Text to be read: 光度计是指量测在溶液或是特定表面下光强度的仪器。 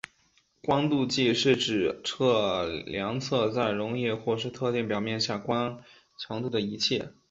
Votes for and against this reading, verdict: 1, 2, rejected